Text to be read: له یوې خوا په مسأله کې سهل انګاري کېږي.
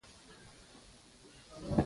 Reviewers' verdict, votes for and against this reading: rejected, 0, 2